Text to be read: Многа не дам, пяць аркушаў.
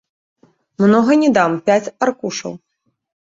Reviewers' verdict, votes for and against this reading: rejected, 1, 2